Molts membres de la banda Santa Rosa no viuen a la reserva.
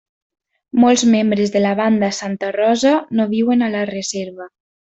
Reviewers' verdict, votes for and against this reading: accepted, 3, 0